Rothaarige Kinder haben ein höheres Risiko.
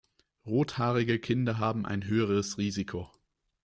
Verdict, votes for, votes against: accepted, 2, 1